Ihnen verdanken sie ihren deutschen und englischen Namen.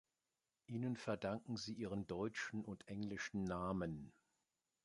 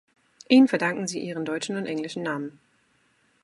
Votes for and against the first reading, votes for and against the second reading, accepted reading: 1, 2, 2, 0, second